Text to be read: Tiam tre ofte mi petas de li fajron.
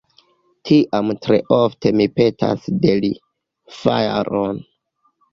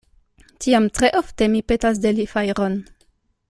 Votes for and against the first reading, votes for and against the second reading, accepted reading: 0, 2, 2, 0, second